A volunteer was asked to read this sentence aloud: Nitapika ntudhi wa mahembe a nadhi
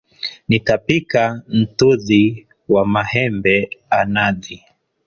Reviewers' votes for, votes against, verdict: 0, 2, rejected